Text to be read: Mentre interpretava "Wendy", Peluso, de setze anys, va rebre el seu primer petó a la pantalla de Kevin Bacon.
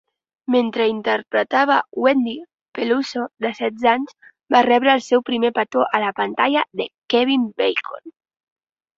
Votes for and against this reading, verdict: 2, 0, accepted